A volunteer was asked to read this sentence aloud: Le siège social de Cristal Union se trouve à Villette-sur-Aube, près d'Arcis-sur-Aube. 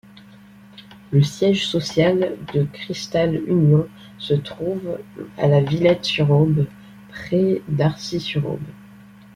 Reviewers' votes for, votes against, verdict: 0, 2, rejected